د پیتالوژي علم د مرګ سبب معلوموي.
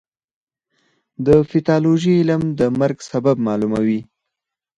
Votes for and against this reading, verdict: 2, 4, rejected